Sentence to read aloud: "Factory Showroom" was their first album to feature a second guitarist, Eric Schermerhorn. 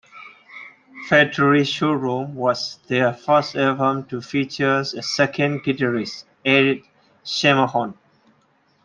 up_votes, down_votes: 1, 2